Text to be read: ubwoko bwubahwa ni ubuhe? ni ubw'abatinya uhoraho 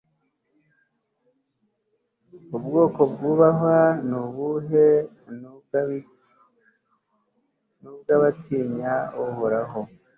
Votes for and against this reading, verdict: 2, 0, accepted